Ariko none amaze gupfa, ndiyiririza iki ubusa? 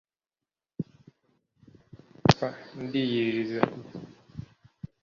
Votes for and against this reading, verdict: 0, 2, rejected